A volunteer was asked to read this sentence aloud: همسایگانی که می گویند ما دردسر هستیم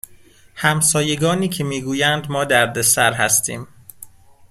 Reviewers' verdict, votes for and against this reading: accepted, 2, 0